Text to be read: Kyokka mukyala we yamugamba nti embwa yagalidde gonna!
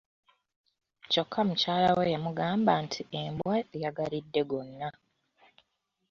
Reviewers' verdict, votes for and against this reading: accepted, 2, 0